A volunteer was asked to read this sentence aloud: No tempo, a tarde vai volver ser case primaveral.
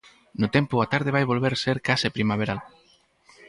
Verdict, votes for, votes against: accepted, 4, 0